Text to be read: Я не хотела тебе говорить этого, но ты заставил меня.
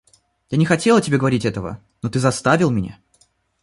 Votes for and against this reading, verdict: 2, 1, accepted